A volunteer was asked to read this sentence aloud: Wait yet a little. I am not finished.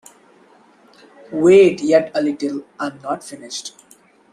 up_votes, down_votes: 1, 2